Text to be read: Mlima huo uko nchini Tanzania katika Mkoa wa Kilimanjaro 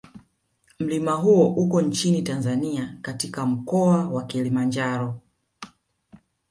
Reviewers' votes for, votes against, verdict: 0, 2, rejected